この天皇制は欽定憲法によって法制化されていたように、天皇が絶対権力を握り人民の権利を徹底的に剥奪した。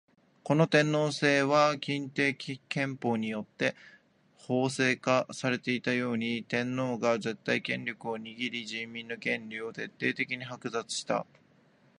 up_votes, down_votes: 2, 1